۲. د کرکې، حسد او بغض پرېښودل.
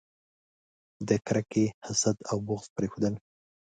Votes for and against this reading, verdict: 0, 2, rejected